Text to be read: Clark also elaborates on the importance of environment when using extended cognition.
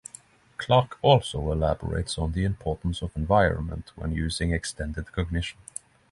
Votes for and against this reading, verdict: 3, 3, rejected